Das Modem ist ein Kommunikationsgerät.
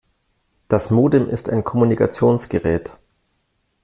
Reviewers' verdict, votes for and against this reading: accepted, 2, 0